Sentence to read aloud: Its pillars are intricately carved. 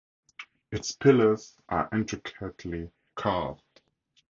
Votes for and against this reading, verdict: 2, 2, rejected